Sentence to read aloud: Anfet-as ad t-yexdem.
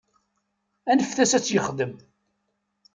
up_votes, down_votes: 2, 4